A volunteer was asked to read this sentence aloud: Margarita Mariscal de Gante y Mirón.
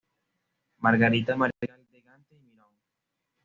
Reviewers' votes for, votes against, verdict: 1, 2, rejected